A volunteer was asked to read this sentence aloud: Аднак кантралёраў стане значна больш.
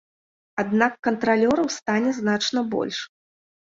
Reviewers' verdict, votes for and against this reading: accepted, 2, 0